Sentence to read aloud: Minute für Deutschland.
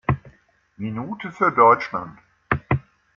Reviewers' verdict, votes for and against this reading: accepted, 2, 0